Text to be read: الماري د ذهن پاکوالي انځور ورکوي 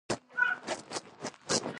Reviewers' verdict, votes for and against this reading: rejected, 0, 2